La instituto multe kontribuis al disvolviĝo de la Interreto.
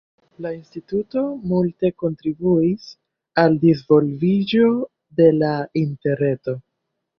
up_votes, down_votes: 2, 0